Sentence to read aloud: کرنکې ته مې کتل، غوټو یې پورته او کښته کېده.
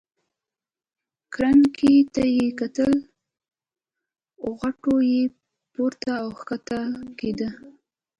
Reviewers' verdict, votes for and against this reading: rejected, 0, 2